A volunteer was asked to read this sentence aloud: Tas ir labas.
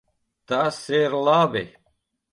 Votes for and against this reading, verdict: 0, 2, rejected